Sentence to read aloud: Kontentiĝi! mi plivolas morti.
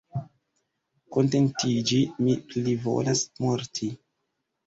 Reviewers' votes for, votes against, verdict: 2, 1, accepted